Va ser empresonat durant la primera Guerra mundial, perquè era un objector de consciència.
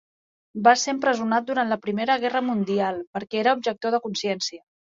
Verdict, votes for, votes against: rejected, 1, 3